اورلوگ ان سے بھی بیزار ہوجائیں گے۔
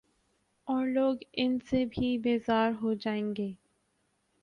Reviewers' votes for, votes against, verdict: 3, 0, accepted